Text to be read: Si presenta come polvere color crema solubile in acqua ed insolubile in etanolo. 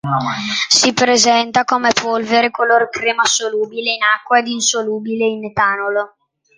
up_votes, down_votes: 0, 2